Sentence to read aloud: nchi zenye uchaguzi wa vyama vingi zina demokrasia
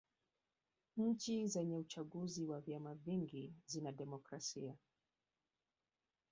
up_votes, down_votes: 2, 3